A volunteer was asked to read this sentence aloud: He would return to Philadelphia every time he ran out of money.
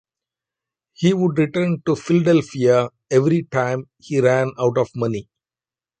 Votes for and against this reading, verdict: 2, 0, accepted